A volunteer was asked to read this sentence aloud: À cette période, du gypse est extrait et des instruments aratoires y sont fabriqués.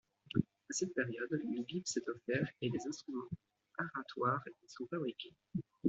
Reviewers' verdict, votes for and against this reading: rejected, 1, 2